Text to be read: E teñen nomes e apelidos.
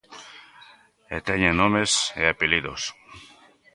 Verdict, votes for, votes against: accepted, 3, 0